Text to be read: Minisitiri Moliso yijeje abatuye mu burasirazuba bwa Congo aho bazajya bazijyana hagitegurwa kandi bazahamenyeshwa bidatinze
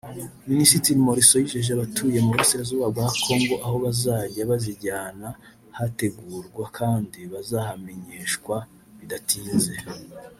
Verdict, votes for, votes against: rejected, 1, 2